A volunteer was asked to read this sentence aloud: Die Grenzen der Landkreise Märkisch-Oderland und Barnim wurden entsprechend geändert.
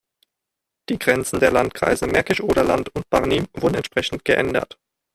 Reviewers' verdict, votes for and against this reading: rejected, 1, 2